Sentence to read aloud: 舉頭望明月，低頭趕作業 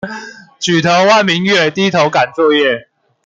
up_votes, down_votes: 2, 0